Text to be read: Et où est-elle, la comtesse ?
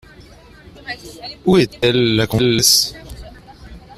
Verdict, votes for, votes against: rejected, 1, 2